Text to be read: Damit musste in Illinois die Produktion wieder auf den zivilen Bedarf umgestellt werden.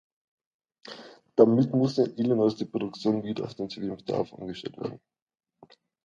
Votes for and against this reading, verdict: 0, 2, rejected